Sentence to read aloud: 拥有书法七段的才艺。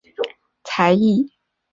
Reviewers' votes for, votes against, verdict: 0, 3, rejected